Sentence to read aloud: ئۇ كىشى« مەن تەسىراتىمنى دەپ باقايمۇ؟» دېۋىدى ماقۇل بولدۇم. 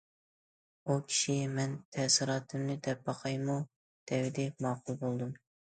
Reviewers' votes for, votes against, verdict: 2, 0, accepted